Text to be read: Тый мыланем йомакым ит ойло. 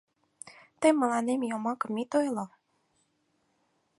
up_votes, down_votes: 4, 0